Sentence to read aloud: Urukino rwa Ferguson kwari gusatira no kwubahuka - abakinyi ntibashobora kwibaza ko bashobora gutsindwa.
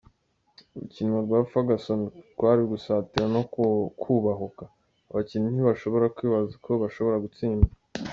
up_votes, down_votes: 1, 2